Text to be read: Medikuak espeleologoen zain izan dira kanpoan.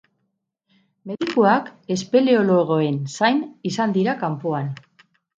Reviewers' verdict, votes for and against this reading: rejected, 0, 2